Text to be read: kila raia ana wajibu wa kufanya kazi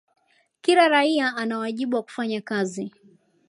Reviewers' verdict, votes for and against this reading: accepted, 2, 0